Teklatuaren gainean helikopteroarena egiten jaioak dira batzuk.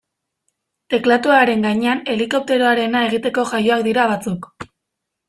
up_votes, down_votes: 1, 2